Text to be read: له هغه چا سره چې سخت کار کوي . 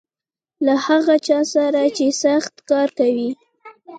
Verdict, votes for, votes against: rejected, 1, 2